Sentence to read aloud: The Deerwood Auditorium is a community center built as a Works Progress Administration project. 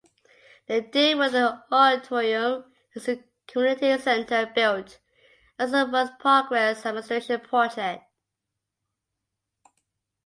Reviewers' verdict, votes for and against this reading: rejected, 0, 2